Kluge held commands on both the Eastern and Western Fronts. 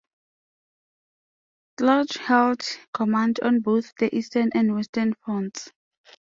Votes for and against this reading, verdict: 2, 1, accepted